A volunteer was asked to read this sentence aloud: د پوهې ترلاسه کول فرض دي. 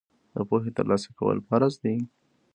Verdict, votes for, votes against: accepted, 2, 1